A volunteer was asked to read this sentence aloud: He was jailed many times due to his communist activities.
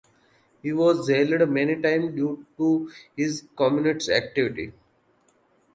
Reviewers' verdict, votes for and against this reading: rejected, 0, 2